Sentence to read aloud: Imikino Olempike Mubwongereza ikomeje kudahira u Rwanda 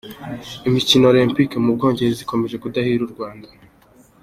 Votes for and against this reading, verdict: 2, 0, accepted